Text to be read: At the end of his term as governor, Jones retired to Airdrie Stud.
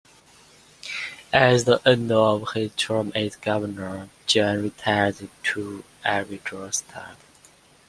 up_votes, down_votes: 0, 2